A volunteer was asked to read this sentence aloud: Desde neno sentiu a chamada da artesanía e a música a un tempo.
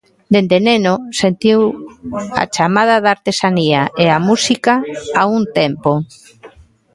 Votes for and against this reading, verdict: 0, 2, rejected